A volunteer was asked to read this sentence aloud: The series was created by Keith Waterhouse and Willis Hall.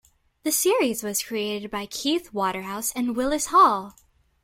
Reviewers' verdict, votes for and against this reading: accepted, 2, 0